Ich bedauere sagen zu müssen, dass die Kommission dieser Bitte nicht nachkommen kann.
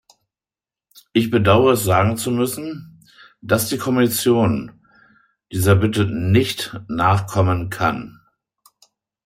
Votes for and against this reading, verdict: 1, 2, rejected